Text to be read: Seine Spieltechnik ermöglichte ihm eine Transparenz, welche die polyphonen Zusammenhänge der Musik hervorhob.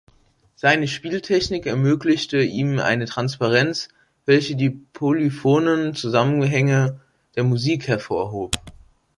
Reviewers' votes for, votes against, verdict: 2, 0, accepted